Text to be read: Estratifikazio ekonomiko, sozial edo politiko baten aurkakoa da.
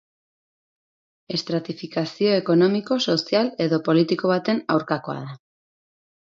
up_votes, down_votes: 10, 0